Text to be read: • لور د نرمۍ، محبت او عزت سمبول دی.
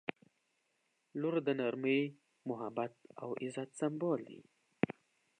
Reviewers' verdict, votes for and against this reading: accepted, 2, 0